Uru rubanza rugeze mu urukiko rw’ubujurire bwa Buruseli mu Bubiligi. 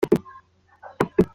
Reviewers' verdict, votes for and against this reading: rejected, 0, 2